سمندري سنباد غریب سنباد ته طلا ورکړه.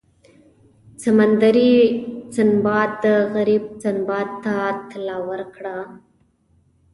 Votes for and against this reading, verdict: 1, 2, rejected